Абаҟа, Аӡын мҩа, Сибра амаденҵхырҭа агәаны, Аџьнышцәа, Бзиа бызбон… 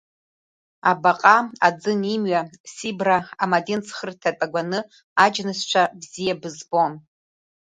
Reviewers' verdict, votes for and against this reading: rejected, 1, 2